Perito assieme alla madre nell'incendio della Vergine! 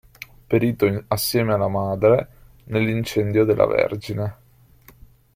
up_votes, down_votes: 2, 0